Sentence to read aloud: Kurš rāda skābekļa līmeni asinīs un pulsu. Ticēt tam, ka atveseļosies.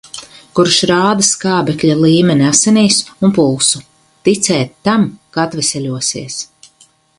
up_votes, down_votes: 4, 0